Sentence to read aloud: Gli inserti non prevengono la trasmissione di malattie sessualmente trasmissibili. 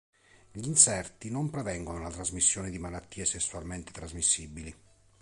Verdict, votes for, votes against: accepted, 2, 0